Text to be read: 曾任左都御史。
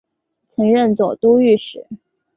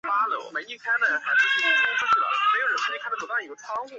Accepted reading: first